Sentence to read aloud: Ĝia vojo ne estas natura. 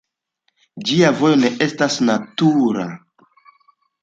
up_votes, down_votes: 2, 0